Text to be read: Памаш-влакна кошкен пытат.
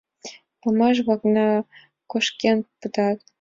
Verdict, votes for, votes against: accepted, 2, 1